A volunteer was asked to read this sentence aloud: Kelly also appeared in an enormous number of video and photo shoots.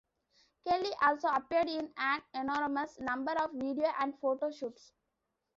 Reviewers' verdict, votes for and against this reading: accepted, 2, 0